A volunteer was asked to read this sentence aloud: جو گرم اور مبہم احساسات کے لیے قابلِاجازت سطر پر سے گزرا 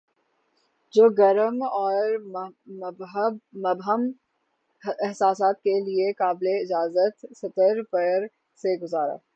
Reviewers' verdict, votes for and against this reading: rejected, 0, 3